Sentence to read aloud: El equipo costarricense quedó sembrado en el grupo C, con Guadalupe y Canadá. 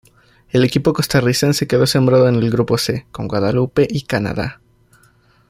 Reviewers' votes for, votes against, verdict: 2, 0, accepted